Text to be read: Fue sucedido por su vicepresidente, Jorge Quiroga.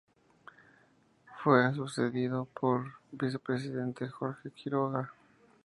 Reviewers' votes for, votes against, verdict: 0, 2, rejected